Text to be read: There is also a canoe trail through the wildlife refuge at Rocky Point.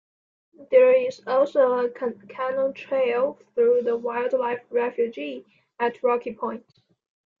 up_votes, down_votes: 2, 1